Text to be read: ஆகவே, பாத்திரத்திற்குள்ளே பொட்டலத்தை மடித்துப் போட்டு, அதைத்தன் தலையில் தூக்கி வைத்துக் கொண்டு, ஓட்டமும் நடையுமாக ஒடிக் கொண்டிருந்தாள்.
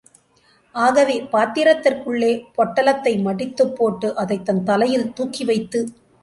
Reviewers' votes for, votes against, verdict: 0, 3, rejected